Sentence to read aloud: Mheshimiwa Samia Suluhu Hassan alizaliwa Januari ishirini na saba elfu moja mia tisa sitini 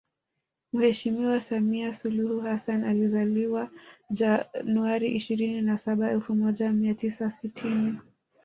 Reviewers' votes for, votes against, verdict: 0, 2, rejected